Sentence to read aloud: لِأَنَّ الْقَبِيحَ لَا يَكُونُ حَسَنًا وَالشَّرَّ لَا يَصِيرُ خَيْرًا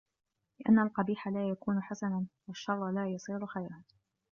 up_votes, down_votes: 2, 1